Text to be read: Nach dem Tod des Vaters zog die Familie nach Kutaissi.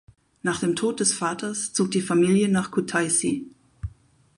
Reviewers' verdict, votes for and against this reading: accepted, 4, 0